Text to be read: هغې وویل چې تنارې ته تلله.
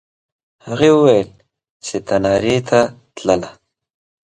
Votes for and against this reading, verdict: 2, 0, accepted